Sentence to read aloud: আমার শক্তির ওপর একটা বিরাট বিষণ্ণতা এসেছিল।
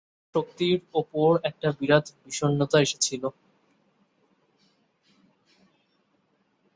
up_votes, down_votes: 2, 13